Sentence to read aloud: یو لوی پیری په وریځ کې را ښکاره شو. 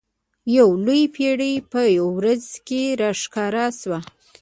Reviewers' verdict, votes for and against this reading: accepted, 2, 0